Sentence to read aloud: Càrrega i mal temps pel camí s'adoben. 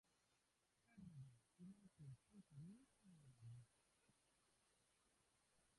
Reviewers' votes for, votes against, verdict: 0, 3, rejected